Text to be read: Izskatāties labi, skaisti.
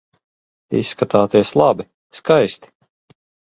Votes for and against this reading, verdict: 2, 0, accepted